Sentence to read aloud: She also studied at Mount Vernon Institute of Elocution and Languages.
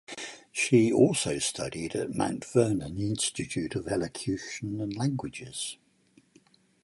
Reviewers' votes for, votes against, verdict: 4, 0, accepted